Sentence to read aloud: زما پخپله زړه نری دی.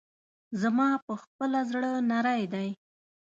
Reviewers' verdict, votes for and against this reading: accepted, 2, 0